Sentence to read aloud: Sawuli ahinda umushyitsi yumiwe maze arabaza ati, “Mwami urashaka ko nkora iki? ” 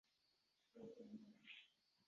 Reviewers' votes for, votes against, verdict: 0, 2, rejected